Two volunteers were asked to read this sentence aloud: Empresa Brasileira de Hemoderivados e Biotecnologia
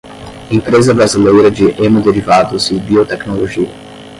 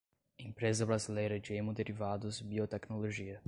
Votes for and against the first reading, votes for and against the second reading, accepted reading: 0, 5, 2, 0, second